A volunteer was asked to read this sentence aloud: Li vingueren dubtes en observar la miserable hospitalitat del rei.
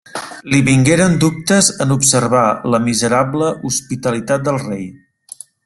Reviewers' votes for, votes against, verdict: 3, 0, accepted